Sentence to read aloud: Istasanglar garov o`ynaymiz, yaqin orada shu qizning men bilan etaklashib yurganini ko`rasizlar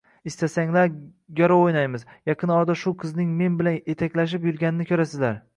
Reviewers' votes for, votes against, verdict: 0, 3, rejected